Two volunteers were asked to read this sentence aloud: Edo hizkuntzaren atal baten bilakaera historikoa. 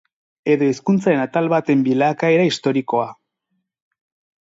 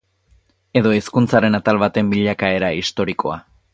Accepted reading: second